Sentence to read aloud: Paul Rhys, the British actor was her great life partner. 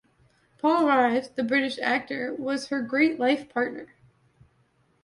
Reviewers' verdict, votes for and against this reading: accepted, 2, 0